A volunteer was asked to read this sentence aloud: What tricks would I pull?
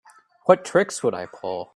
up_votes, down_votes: 2, 0